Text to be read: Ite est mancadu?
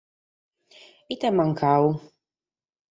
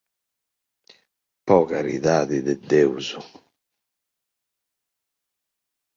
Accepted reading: first